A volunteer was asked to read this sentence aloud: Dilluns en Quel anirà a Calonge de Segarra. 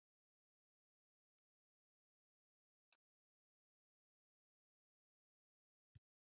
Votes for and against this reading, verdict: 0, 6, rejected